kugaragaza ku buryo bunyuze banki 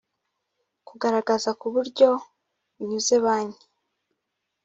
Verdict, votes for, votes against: accepted, 2, 1